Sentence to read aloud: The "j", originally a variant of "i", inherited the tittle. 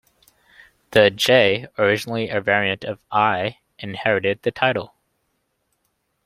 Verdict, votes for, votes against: rejected, 0, 2